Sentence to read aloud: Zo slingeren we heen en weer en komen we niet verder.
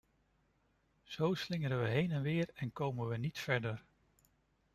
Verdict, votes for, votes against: accepted, 2, 0